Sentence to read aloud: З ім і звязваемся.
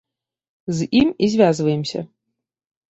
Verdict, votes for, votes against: accepted, 2, 0